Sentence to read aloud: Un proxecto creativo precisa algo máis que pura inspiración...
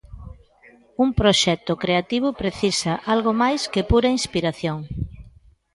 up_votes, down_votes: 2, 0